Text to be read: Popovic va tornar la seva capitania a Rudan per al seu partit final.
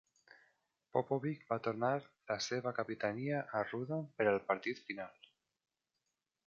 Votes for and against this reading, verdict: 1, 2, rejected